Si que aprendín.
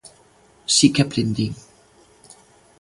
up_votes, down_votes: 2, 0